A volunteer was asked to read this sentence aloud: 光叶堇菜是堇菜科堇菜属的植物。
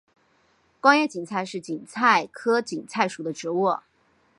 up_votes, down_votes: 6, 2